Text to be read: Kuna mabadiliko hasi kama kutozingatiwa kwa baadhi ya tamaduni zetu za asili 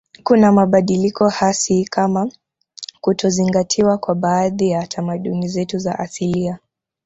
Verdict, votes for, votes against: rejected, 0, 2